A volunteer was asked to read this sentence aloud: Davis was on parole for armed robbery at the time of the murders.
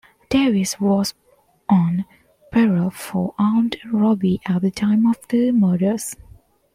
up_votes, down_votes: 2, 1